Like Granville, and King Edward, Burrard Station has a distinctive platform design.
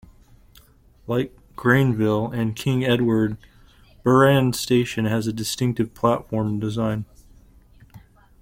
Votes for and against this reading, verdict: 0, 2, rejected